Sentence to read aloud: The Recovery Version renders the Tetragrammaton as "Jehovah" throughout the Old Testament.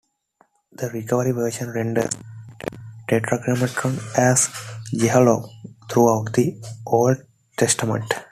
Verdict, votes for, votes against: rejected, 1, 2